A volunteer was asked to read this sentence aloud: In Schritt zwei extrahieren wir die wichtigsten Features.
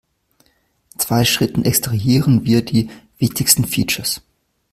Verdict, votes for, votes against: rejected, 1, 2